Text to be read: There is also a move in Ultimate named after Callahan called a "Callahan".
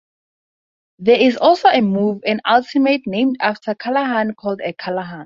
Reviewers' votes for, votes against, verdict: 4, 0, accepted